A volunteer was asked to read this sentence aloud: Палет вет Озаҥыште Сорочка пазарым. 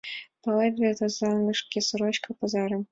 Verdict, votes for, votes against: accepted, 2, 0